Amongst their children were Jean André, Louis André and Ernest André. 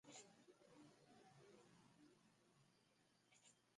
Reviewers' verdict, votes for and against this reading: rejected, 0, 2